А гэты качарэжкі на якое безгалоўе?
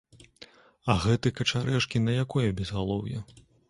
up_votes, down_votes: 2, 0